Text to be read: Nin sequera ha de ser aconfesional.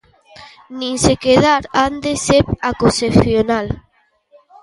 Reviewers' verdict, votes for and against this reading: rejected, 0, 2